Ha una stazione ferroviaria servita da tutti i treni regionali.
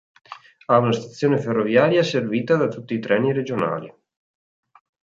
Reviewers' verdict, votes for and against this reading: accepted, 4, 0